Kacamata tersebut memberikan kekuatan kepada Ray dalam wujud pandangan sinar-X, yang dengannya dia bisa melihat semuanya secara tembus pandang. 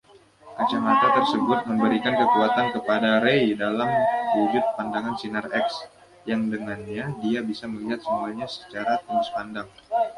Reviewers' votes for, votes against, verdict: 2, 0, accepted